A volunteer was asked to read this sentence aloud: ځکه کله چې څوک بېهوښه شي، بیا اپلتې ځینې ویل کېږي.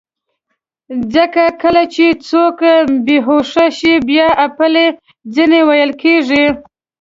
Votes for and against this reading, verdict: 1, 2, rejected